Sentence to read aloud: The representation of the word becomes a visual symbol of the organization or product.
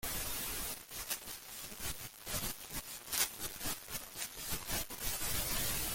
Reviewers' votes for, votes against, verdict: 0, 2, rejected